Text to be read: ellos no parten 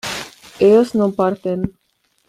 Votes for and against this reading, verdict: 2, 1, accepted